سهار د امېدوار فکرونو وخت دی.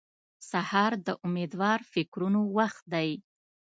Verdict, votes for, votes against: accepted, 2, 0